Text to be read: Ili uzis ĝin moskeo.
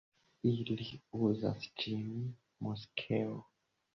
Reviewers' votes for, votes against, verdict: 0, 2, rejected